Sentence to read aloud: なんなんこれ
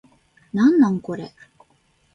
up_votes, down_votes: 2, 0